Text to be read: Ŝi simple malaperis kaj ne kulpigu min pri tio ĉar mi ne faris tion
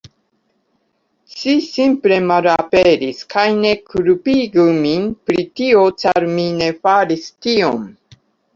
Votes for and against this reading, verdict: 2, 1, accepted